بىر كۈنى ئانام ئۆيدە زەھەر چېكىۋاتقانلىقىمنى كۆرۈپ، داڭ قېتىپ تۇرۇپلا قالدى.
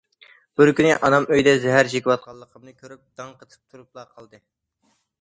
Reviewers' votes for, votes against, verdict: 2, 0, accepted